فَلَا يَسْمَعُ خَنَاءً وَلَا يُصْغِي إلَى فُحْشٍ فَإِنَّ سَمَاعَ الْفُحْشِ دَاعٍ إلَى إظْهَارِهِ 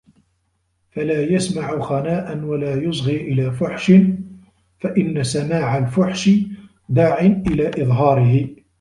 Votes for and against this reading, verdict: 2, 0, accepted